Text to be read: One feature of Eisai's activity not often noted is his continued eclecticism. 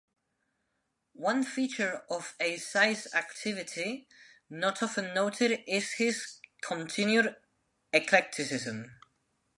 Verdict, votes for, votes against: accepted, 2, 0